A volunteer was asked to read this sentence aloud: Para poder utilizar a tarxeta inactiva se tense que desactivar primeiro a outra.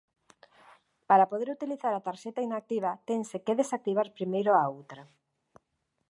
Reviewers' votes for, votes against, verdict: 0, 2, rejected